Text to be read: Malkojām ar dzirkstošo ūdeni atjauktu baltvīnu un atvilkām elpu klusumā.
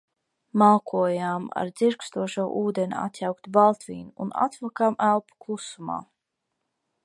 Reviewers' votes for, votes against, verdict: 2, 0, accepted